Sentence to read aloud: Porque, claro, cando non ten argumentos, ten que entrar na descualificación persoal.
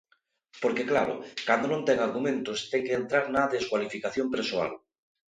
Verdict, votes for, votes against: accepted, 2, 0